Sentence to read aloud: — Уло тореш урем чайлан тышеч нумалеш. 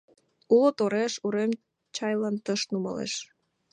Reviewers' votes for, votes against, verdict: 0, 2, rejected